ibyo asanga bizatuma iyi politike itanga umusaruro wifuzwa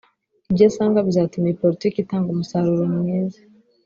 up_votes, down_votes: 1, 2